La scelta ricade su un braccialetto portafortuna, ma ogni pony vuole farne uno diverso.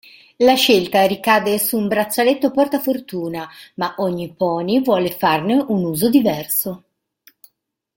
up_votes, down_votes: 0, 3